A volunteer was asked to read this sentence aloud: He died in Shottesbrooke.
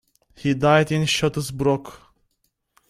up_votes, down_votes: 2, 0